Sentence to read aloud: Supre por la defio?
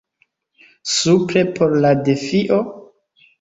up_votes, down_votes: 2, 0